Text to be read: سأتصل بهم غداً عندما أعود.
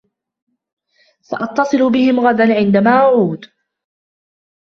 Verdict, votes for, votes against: accepted, 2, 0